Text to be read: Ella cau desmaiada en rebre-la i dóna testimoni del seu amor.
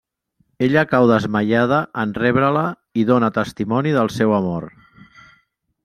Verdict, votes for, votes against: accepted, 3, 0